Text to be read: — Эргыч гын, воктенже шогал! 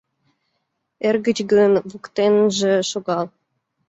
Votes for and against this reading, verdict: 2, 0, accepted